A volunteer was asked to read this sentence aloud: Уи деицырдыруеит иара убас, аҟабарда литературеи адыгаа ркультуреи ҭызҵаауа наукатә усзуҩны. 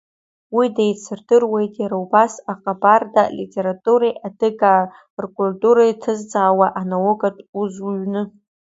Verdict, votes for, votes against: rejected, 0, 2